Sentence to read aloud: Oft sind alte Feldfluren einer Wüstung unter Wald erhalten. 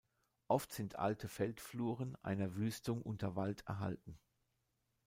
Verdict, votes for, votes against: accepted, 2, 0